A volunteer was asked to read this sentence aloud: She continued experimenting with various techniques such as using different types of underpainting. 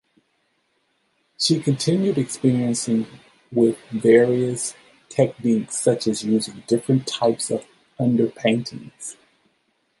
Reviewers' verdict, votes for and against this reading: rejected, 0, 2